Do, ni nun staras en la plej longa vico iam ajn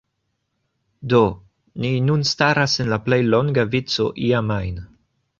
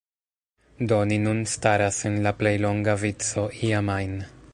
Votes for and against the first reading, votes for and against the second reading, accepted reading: 2, 0, 0, 2, first